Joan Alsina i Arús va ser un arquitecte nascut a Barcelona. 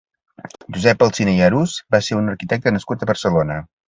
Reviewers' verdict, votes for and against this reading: rejected, 1, 2